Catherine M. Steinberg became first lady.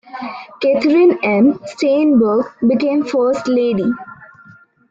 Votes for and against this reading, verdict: 1, 2, rejected